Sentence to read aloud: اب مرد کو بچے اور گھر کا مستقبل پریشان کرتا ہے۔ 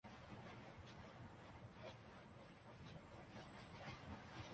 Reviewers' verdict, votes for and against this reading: rejected, 0, 3